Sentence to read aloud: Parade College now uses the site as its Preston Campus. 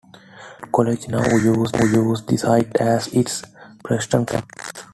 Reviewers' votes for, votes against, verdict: 0, 2, rejected